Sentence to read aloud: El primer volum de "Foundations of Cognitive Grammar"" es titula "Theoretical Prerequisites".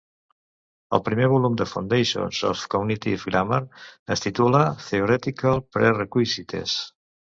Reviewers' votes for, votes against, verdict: 1, 2, rejected